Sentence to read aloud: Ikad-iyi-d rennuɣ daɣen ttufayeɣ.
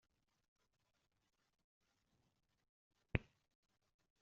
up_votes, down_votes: 0, 2